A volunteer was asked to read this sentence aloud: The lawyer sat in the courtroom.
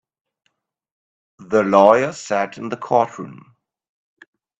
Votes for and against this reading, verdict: 2, 0, accepted